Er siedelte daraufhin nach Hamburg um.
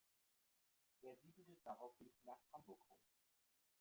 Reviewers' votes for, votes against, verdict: 0, 2, rejected